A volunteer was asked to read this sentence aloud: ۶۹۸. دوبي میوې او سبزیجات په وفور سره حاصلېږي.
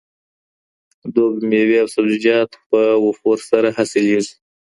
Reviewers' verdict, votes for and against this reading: rejected, 0, 2